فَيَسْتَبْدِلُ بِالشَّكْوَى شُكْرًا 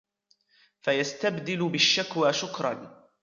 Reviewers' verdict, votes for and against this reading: accepted, 2, 0